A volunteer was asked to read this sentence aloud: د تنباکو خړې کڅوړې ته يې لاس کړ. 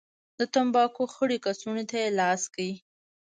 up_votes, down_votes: 0, 2